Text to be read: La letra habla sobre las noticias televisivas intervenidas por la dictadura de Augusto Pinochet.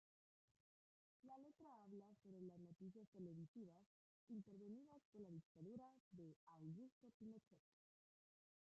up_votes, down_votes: 0, 2